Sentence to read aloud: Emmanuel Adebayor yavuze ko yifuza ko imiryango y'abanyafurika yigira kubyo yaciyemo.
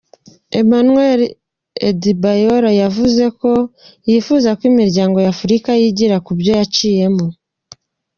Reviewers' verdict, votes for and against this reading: accepted, 2, 1